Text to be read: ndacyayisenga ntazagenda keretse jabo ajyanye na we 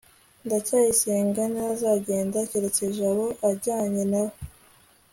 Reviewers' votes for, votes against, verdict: 2, 0, accepted